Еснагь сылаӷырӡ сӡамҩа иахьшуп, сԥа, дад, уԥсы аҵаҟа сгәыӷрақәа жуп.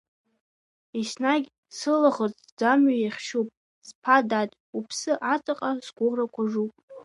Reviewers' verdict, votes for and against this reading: rejected, 1, 2